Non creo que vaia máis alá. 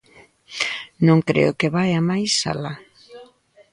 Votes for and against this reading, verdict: 2, 0, accepted